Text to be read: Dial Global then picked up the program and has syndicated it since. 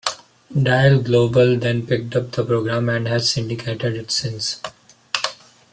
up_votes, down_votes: 2, 0